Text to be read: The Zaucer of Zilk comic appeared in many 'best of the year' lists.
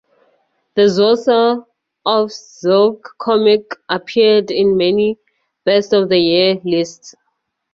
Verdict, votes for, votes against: accepted, 2, 0